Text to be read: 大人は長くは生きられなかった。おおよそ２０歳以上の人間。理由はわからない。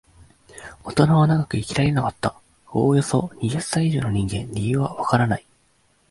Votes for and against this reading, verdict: 0, 2, rejected